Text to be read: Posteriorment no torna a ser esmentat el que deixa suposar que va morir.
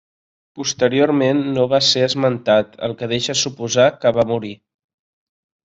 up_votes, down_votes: 0, 2